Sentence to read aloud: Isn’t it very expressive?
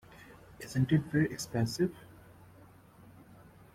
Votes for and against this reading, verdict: 2, 0, accepted